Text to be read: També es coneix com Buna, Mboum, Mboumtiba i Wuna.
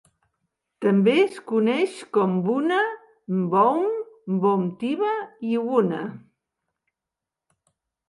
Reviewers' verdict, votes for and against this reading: accepted, 2, 0